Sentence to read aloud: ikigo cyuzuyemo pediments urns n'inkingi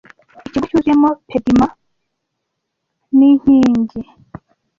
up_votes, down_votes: 0, 2